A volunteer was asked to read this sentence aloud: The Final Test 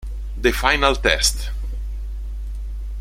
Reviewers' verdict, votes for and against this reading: accepted, 2, 0